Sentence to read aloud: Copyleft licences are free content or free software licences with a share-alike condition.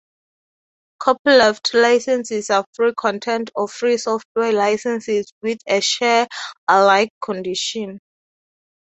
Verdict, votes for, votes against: rejected, 2, 2